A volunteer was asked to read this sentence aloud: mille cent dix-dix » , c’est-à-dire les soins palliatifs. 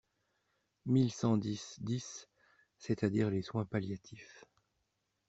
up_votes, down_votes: 2, 0